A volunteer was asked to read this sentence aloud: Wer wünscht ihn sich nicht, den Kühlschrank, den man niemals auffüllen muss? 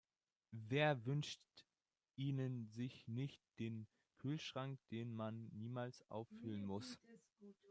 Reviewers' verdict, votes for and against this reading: rejected, 0, 3